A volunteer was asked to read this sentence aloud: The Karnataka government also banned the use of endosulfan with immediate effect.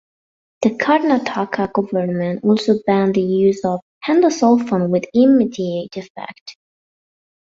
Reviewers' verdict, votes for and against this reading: accepted, 2, 0